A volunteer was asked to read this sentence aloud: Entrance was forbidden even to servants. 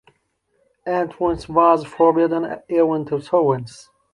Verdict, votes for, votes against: accepted, 2, 0